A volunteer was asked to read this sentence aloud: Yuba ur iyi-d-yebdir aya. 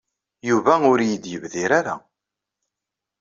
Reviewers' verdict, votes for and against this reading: rejected, 0, 2